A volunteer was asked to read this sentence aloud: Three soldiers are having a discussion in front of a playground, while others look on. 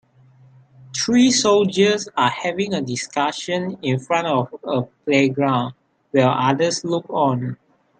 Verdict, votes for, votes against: rejected, 0, 3